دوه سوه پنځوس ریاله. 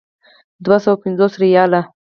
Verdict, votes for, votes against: accepted, 4, 2